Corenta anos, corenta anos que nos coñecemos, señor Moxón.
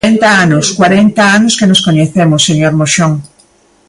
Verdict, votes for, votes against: rejected, 1, 2